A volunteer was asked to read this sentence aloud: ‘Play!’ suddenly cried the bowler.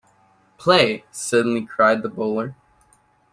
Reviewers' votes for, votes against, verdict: 2, 0, accepted